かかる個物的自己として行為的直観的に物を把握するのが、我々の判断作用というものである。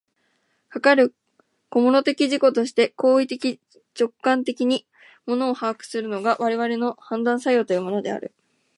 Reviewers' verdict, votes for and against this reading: rejected, 1, 2